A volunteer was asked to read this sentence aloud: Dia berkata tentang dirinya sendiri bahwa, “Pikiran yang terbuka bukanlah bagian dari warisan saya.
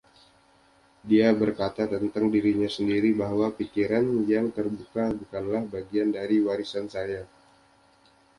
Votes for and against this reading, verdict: 2, 0, accepted